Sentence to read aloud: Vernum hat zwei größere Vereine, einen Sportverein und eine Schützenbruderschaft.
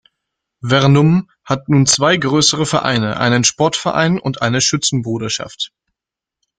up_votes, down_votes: 0, 2